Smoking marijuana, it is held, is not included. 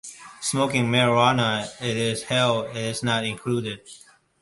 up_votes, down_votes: 2, 0